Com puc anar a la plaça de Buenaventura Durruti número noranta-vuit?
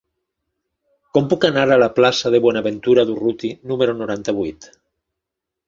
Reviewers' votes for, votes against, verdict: 2, 0, accepted